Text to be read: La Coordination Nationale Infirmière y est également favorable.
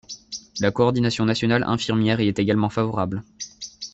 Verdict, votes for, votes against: rejected, 1, 2